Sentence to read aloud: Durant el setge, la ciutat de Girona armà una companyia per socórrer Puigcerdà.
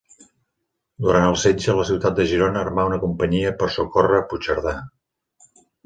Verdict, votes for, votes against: accepted, 2, 0